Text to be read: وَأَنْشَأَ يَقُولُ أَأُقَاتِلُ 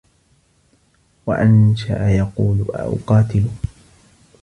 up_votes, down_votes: 1, 2